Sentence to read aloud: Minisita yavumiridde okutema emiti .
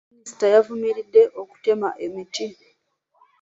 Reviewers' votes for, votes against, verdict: 2, 1, accepted